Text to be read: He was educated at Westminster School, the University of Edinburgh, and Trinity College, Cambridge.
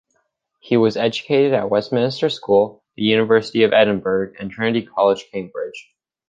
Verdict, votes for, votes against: accepted, 4, 0